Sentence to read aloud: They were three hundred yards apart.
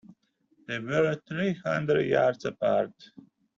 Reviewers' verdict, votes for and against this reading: rejected, 0, 2